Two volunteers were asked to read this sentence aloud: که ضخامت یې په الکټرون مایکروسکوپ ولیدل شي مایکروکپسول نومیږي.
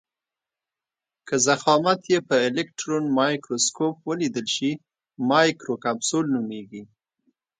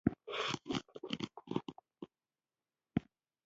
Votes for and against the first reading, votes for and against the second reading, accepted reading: 2, 0, 0, 2, first